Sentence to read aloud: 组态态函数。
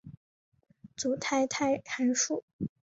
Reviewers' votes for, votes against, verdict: 5, 0, accepted